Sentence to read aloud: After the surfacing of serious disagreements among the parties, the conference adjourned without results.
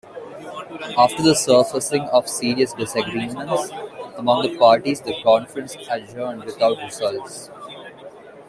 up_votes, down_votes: 0, 2